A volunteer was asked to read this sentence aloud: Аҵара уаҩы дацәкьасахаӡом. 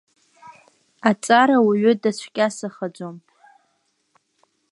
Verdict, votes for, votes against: accepted, 2, 1